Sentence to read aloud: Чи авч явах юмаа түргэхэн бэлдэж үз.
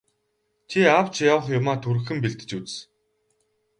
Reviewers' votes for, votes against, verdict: 2, 4, rejected